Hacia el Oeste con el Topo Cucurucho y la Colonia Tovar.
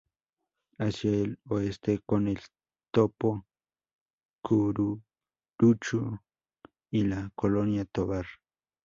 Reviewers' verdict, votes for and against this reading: rejected, 2, 4